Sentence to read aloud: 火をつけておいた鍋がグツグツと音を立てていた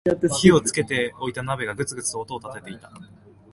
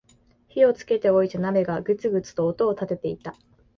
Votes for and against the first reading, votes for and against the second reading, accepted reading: 3, 0, 1, 2, first